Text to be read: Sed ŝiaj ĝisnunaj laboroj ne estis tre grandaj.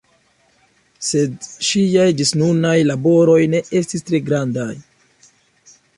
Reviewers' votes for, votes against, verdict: 2, 0, accepted